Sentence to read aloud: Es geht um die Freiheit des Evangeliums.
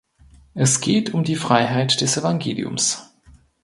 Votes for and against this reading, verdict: 2, 0, accepted